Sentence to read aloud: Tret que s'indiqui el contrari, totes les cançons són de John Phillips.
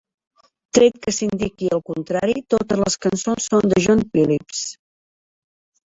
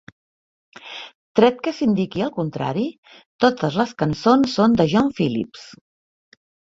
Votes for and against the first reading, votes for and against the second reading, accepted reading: 1, 3, 3, 1, second